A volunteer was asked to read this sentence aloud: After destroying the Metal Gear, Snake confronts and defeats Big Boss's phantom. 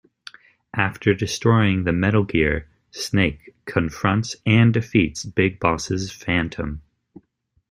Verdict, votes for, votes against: accepted, 2, 0